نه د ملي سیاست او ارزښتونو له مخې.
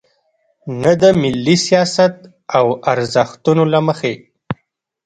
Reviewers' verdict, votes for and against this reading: rejected, 1, 2